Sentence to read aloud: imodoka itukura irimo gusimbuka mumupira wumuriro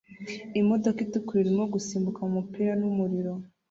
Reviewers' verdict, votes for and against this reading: rejected, 1, 2